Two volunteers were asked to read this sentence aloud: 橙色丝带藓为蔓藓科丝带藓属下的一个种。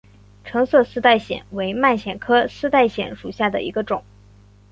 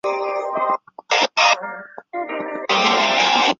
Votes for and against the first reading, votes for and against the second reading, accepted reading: 2, 0, 0, 2, first